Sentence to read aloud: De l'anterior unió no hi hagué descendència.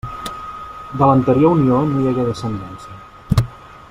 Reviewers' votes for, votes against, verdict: 1, 2, rejected